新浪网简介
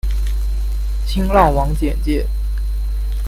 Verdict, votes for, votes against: accepted, 2, 0